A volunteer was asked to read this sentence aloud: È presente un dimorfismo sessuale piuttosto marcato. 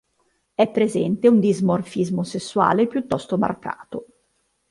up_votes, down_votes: 2, 3